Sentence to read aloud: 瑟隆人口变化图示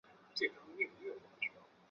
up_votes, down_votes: 0, 2